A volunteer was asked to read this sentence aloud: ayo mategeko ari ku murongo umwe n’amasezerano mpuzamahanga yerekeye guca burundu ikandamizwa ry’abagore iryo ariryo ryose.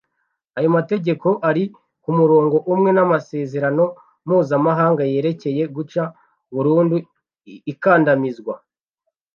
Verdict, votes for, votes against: rejected, 0, 2